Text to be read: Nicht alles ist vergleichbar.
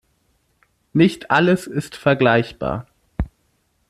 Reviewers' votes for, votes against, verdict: 2, 0, accepted